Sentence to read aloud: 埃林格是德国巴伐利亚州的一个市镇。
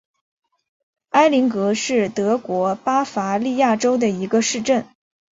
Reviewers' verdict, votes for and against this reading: accepted, 3, 0